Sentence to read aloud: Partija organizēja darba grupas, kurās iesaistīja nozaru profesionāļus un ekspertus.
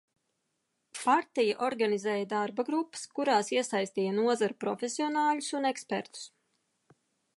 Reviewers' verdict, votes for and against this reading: rejected, 1, 2